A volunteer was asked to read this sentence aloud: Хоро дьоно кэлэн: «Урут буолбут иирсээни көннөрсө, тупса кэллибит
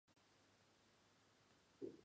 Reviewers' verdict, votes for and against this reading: rejected, 0, 2